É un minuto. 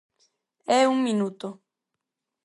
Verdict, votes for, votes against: accepted, 4, 0